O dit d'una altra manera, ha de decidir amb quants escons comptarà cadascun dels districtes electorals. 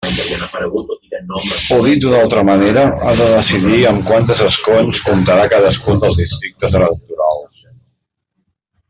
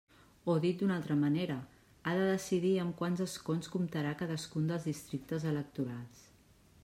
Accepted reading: second